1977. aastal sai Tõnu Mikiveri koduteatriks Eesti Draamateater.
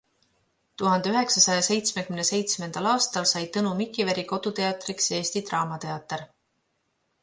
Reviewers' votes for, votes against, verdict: 0, 2, rejected